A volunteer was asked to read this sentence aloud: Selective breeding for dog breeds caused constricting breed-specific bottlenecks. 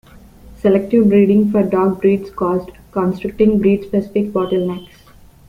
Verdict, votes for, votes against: rejected, 1, 2